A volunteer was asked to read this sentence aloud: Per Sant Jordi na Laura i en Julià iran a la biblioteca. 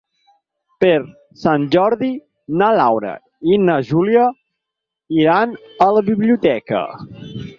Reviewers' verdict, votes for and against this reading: rejected, 2, 4